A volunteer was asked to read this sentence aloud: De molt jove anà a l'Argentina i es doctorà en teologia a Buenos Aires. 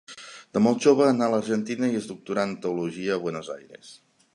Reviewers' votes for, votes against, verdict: 2, 0, accepted